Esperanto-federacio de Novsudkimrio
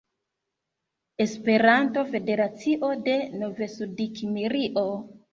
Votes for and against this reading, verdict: 0, 2, rejected